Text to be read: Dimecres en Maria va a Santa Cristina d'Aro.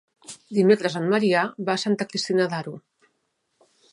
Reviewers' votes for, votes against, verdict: 1, 2, rejected